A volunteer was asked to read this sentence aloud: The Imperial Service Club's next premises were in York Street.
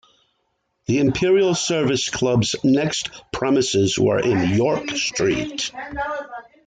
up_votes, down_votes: 1, 2